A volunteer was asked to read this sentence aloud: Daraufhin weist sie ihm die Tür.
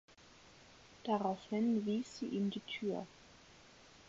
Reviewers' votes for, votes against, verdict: 0, 4, rejected